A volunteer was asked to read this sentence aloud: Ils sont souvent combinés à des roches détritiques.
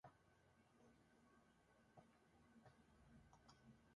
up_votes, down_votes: 1, 2